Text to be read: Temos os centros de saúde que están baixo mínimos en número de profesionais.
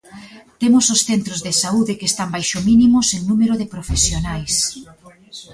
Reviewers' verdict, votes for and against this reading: rejected, 1, 2